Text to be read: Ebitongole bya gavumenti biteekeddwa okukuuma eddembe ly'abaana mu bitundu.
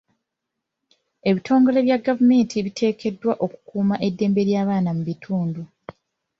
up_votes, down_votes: 2, 0